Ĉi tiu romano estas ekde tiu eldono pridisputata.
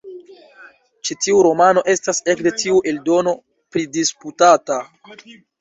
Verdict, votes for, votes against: accepted, 2, 0